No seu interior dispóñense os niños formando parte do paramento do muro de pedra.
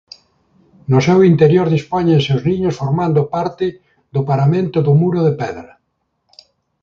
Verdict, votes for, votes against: accepted, 2, 0